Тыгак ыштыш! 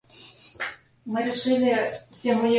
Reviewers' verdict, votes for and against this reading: rejected, 0, 2